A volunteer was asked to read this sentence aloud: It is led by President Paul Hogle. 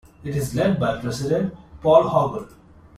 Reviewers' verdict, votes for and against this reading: accepted, 2, 0